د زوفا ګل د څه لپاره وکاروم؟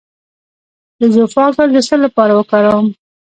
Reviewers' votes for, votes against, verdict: 1, 2, rejected